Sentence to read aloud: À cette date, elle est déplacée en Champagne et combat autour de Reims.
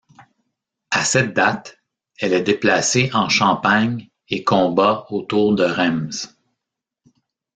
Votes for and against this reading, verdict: 2, 1, accepted